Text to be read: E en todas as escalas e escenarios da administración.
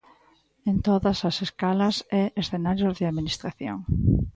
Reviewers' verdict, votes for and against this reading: rejected, 0, 2